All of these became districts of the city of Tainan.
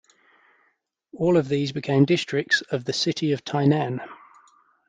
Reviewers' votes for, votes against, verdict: 2, 0, accepted